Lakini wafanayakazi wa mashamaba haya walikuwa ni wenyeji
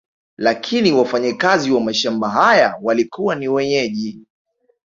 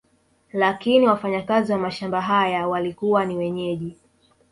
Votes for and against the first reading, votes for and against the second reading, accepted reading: 3, 0, 1, 2, first